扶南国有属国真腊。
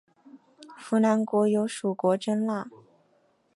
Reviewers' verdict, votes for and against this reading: accepted, 2, 0